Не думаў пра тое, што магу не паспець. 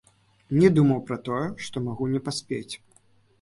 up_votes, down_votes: 1, 2